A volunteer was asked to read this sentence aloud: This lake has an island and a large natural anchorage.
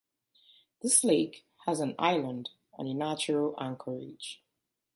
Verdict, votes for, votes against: rejected, 1, 2